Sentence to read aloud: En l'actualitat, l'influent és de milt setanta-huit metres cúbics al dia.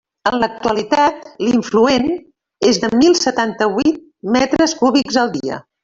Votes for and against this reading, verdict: 2, 1, accepted